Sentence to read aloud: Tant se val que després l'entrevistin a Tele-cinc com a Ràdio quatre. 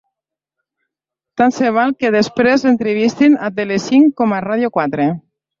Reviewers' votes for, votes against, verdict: 1, 2, rejected